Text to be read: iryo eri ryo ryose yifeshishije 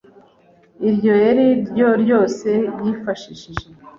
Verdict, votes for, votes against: rejected, 1, 2